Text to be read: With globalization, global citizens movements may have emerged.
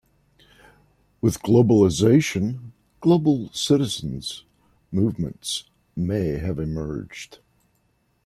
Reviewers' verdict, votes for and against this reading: rejected, 1, 2